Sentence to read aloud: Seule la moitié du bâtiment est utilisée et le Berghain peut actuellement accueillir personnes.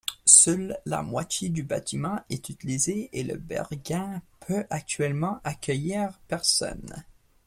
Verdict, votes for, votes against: accepted, 2, 0